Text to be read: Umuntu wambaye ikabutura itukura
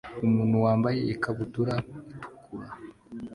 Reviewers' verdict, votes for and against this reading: accepted, 2, 0